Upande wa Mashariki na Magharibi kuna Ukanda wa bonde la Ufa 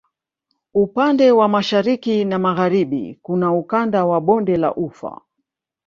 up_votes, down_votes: 2, 0